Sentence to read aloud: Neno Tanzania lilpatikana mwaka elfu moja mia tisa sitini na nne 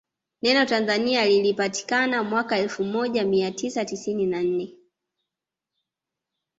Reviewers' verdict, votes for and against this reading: rejected, 0, 2